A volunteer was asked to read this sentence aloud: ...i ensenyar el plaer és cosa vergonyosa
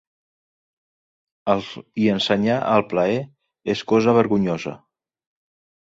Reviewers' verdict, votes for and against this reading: rejected, 0, 2